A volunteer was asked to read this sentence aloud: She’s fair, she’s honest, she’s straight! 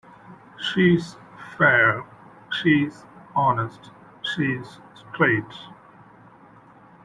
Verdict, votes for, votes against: rejected, 0, 2